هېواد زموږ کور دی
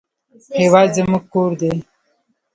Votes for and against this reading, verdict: 0, 2, rejected